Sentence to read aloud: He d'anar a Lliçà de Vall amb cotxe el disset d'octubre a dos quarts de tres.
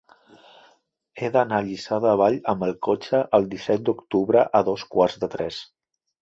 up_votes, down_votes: 0, 2